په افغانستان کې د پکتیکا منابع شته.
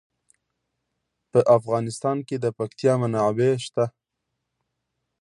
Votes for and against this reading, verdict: 2, 0, accepted